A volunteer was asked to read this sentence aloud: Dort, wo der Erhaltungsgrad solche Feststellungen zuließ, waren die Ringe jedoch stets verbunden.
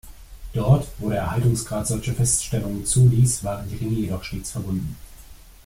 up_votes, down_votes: 2, 0